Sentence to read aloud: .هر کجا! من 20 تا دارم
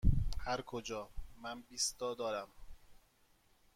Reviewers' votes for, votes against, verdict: 0, 2, rejected